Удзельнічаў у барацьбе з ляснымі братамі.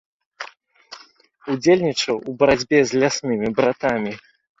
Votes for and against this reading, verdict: 2, 0, accepted